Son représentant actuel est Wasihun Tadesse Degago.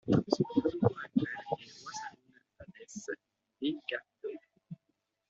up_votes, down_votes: 0, 2